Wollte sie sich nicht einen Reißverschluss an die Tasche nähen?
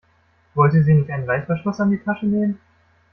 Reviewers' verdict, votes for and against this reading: accepted, 2, 1